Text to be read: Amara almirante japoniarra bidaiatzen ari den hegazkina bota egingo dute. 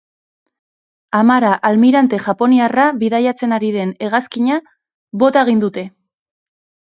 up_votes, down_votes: 1, 3